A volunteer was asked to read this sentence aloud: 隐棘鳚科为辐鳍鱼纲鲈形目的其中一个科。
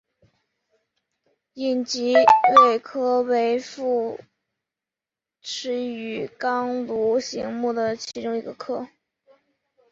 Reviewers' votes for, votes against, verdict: 2, 1, accepted